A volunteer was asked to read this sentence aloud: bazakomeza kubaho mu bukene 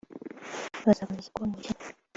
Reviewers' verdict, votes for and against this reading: rejected, 1, 2